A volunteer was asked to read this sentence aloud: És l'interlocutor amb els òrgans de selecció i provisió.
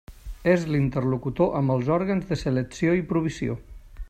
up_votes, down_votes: 1, 2